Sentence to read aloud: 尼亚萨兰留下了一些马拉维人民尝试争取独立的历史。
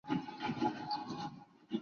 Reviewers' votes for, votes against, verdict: 4, 1, accepted